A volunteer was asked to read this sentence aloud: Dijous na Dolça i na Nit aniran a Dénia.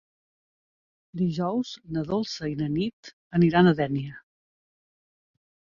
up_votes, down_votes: 2, 0